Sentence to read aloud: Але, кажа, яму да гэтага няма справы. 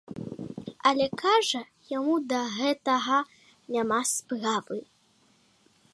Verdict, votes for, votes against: accepted, 2, 0